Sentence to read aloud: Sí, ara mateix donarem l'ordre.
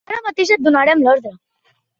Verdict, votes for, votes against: rejected, 1, 2